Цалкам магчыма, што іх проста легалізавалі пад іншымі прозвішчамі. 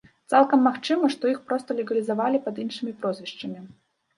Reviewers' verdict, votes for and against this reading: rejected, 1, 2